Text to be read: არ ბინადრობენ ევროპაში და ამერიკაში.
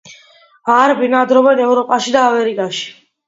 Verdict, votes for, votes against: accepted, 2, 0